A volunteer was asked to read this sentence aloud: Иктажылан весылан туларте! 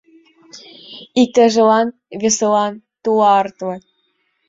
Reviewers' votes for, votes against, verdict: 1, 2, rejected